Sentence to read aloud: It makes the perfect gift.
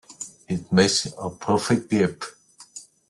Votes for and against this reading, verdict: 0, 2, rejected